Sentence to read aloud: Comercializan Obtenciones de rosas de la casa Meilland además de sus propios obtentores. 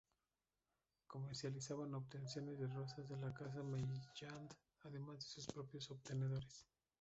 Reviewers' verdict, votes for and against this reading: rejected, 0, 2